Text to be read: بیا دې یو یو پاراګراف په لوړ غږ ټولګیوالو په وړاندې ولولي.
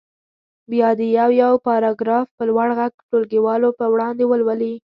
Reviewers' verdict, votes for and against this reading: accepted, 2, 0